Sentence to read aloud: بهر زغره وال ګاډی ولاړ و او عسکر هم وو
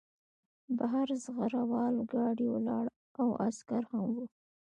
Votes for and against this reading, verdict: 2, 0, accepted